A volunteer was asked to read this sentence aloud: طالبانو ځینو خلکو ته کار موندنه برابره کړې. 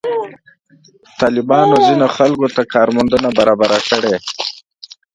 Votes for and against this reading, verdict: 1, 2, rejected